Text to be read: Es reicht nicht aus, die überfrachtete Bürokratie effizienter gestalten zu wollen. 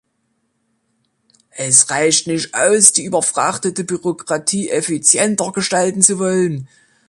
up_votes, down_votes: 2, 0